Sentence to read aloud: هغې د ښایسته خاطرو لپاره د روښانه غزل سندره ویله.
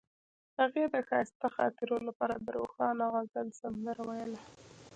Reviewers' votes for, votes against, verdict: 2, 0, accepted